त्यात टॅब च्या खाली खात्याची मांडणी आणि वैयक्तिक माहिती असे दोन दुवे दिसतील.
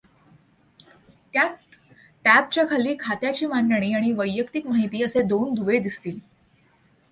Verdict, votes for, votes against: accepted, 2, 0